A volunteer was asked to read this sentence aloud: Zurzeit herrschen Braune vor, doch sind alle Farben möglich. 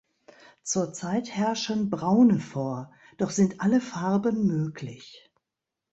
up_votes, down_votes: 2, 0